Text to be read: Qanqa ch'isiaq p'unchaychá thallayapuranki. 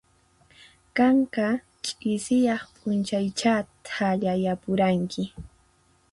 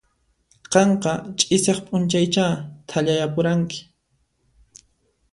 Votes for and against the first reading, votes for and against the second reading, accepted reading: 2, 4, 2, 0, second